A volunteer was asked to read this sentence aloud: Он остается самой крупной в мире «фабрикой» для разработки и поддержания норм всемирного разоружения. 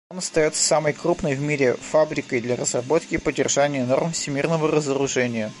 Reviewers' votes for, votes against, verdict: 2, 1, accepted